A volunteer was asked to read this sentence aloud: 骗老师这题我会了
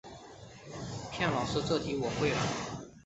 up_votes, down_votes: 5, 2